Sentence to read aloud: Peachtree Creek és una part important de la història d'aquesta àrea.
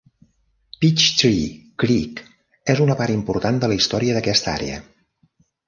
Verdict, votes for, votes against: accepted, 2, 0